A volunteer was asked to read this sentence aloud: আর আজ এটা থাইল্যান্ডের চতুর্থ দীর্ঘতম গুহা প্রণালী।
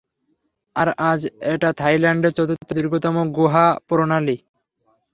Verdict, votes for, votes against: accepted, 3, 0